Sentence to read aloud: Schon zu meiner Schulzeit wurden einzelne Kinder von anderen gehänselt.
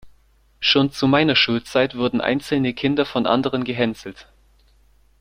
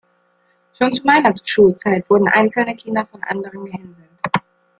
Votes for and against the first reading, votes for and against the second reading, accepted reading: 2, 0, 0, 2, first